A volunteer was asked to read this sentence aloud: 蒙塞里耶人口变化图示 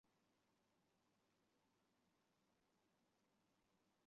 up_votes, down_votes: 0, 3